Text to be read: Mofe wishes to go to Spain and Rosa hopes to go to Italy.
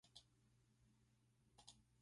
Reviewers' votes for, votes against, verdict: 0, 2, rejected